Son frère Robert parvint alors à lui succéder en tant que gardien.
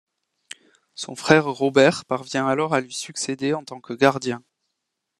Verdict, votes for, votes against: rejected, 0, 2